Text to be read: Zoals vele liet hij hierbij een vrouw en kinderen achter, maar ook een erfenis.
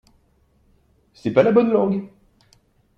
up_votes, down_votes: 0, 2